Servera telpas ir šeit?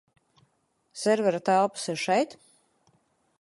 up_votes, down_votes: 4, 0